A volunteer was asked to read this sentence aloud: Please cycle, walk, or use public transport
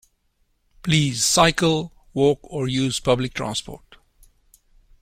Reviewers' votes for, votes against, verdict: 2, 0, accepted